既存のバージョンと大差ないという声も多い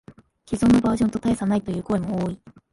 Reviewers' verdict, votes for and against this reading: accepted, 2, 0